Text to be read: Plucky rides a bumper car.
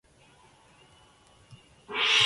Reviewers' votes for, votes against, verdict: 0, 3, rejected